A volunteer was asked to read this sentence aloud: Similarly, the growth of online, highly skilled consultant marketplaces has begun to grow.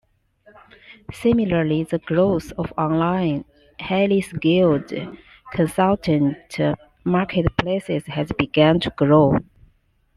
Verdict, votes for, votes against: accepted, 2, 1